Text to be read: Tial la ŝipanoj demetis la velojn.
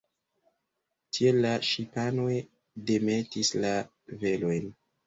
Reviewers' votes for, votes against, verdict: 2, 0, accepted